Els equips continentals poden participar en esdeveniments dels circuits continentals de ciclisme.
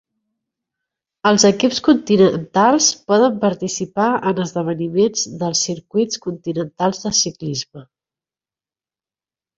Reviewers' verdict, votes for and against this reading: rejected, 0, 2